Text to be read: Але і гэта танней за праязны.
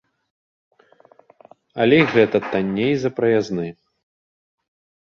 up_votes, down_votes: 2, 0